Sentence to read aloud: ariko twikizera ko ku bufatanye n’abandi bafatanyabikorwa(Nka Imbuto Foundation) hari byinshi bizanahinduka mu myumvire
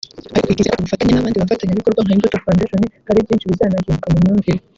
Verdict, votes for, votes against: rejected, 0, 2